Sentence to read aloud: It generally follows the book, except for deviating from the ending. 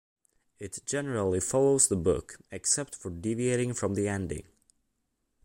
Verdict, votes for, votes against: accepted, 2, 0